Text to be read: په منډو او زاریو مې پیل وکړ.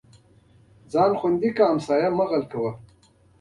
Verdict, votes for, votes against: rejected, 1, 2